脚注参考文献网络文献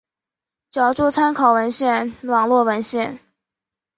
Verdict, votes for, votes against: accepted, 4, 0